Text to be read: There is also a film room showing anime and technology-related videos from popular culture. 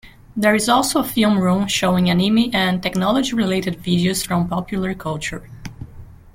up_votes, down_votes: 1, 2